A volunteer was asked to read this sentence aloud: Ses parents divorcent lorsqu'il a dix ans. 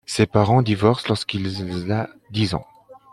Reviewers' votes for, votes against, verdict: 0, 2, rejected